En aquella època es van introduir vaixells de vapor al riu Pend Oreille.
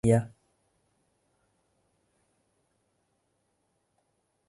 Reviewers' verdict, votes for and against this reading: rejected, 0, 2